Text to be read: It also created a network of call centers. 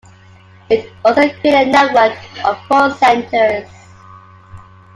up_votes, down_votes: 0, 2